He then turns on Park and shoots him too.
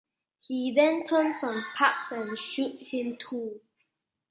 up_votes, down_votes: 0, 2